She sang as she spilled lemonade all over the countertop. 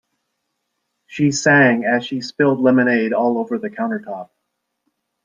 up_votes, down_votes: 2, 0